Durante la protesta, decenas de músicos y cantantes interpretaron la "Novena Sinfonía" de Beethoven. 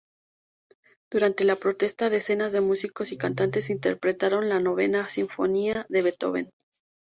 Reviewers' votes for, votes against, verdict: 2, 0, accepted